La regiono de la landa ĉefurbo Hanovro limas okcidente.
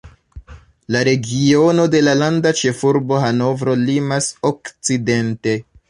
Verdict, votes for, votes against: accepted, 2, 0